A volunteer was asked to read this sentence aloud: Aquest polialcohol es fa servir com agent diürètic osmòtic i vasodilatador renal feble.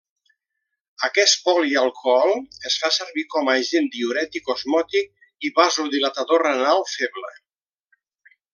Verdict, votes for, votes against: accepted, 2, 0